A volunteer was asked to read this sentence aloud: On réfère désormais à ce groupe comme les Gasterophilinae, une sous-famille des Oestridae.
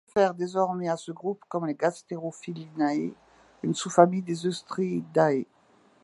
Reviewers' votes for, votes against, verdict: 2, 1, accepted